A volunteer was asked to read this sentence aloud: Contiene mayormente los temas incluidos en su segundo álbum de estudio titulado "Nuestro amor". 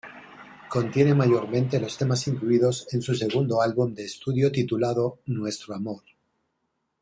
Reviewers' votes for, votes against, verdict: 2, 0, accepted